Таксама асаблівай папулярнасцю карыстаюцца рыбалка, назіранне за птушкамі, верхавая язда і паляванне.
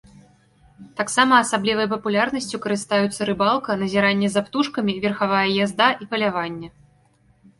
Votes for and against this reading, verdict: 2, 0, accepted